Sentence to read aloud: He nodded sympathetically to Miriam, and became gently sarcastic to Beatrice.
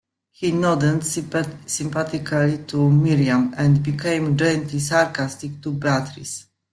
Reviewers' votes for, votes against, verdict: 0, 2, rejected